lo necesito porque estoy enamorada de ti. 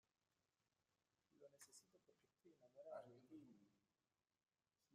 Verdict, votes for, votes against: rejected, 0, 2